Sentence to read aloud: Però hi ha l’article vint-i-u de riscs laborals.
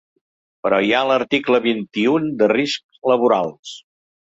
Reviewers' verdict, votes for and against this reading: rejected, 2, 4